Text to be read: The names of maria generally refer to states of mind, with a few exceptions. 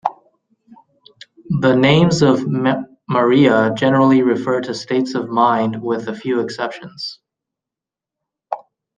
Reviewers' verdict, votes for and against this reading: rejected, 0, 2